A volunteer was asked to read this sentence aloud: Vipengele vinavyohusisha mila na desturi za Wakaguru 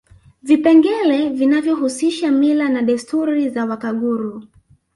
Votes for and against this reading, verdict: 1, 2, rejected